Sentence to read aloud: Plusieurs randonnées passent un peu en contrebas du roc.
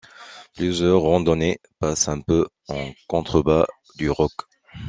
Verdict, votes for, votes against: accepted, 2, 0